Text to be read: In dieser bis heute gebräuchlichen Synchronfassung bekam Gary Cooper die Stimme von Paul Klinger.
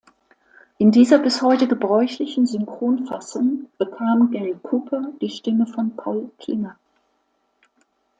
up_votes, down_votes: 2, 0